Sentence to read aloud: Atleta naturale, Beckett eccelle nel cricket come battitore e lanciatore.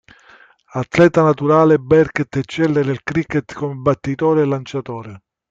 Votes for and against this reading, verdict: 0, 2, rejected